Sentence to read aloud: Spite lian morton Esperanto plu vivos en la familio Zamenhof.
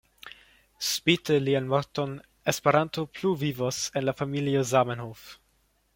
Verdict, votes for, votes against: accepted, 2, 0